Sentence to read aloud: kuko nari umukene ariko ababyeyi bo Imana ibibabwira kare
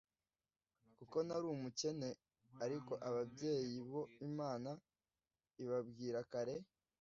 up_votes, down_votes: 2, 0